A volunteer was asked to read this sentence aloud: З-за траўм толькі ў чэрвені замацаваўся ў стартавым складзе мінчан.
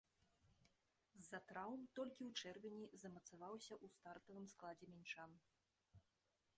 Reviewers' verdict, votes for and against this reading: rejected, 1, 2